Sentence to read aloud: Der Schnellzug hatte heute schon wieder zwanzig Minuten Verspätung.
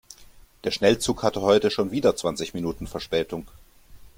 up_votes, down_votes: 2, 0